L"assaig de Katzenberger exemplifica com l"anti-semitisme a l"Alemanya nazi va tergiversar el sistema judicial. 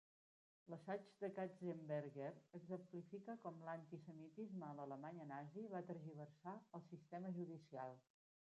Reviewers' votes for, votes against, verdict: 0, 2, rejected